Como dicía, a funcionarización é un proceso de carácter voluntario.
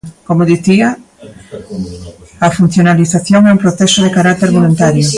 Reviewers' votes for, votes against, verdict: 1, 2, rejected